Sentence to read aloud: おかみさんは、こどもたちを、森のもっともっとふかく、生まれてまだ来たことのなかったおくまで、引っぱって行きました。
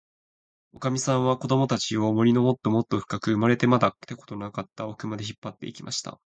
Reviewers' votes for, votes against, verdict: 2, 0, accepted